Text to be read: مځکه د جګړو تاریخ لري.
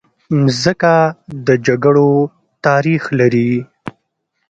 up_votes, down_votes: 2, 0